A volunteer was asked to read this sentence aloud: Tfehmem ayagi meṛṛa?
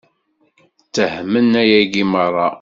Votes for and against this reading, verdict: 0, 2, rejected